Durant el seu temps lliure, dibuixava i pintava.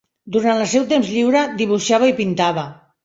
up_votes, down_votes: 2, 0